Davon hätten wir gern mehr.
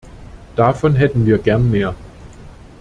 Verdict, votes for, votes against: accepted, 2, 0